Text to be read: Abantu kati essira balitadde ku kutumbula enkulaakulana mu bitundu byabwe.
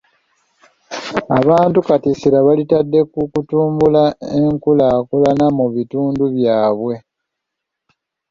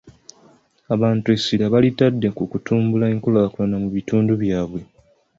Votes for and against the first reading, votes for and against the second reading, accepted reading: 2, 0, 1, 2, first